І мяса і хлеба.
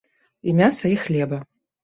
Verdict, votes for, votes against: accepted, 2, 0